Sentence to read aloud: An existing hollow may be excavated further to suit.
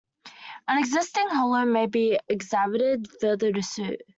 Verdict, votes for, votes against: rejected, 0, 2